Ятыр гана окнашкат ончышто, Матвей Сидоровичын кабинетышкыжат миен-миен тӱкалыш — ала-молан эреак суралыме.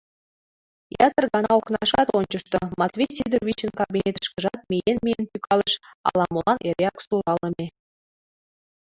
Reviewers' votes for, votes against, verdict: 1, 2, rejected